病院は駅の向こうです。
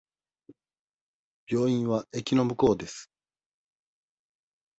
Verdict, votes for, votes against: rejected, 1, 2